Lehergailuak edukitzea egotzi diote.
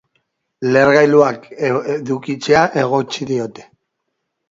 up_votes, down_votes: 1, 2